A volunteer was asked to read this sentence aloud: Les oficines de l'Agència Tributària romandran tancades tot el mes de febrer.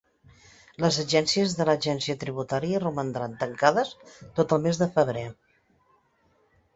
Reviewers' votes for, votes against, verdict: 0, 2, rejected